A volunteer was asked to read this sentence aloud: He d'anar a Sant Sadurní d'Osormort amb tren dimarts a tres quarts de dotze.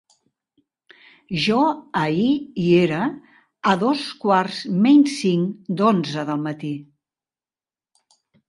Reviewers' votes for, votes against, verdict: 0, 3, rejected